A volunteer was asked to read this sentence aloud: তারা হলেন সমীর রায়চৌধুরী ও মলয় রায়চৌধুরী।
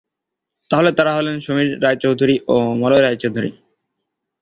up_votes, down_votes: 6, 6